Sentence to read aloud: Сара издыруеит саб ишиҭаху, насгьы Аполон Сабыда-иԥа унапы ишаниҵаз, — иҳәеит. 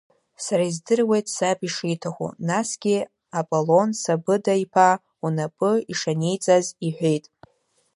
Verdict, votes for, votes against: accepted, 2, 0